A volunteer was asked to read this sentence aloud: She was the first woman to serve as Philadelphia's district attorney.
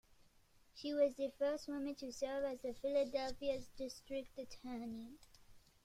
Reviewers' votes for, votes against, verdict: 2, 0, accepted